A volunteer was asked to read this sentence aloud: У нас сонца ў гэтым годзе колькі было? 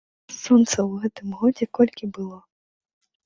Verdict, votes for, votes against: rejected, 1, 3